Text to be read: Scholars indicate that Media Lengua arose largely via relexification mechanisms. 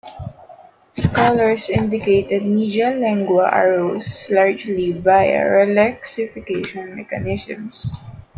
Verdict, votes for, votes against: rejected, 0, 2